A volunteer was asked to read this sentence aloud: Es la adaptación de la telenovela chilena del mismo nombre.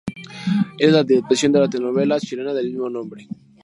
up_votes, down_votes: 0, 2